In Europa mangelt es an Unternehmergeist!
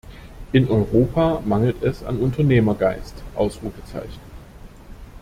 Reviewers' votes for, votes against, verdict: 0, 2, rejected